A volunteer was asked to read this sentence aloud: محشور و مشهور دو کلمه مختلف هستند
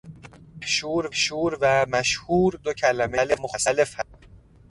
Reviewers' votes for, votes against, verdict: 0, 2, rejected